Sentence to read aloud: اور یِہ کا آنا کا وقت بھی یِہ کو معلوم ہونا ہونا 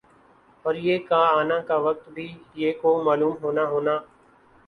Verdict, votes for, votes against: accepted, 2, 0